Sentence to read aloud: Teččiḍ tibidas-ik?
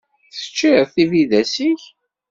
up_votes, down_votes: 2, 0